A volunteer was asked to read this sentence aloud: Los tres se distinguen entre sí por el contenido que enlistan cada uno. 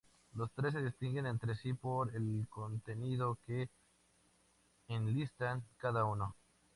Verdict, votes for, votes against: accepted, 2, 0